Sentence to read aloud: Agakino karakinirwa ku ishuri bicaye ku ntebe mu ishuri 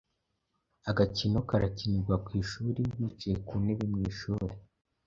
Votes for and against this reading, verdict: 2, 0, accepted